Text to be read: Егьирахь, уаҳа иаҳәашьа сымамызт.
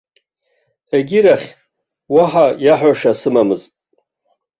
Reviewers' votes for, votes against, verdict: 1, 2, rejected